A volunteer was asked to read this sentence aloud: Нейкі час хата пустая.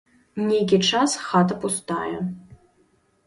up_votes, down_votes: 3, 0